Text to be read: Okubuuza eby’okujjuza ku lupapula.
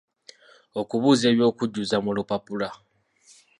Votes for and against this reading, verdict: 1, 2, rejected